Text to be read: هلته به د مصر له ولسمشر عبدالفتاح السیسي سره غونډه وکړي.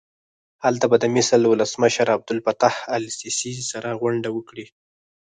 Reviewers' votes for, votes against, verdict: 0, 4, rejected